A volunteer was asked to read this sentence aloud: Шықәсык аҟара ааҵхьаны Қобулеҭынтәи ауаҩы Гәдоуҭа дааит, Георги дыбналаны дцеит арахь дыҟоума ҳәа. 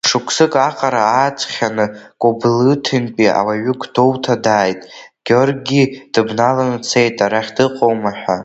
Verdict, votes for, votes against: rejected, 1, 2